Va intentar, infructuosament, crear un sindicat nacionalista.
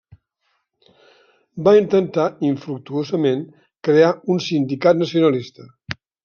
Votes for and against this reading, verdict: 3, 0, accepted